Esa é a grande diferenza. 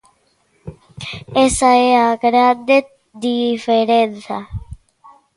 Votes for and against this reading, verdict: 2, 0, accepted